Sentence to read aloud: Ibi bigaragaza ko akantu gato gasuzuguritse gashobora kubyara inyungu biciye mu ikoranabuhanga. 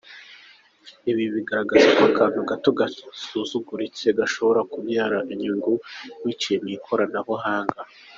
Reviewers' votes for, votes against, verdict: 2, 1, accepted